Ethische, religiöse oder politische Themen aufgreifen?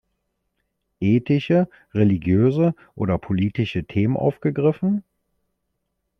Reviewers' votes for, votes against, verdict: 0, 2, rejected